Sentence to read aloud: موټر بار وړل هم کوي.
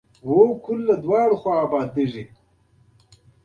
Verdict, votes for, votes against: accepted, 3, 0